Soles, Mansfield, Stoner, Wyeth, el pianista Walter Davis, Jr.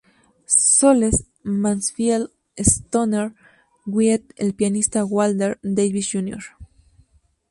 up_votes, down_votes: 0, 2